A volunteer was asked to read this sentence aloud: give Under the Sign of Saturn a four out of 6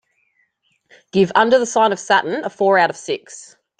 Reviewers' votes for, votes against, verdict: 0, 2, rejected